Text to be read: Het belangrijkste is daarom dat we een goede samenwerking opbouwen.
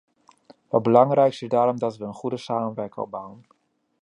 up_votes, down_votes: 2, 1